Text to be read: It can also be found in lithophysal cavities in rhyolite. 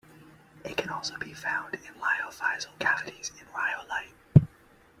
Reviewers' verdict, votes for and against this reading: accepted, 2, 1